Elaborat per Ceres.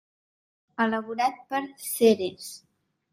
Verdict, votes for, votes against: rejected, 1, 2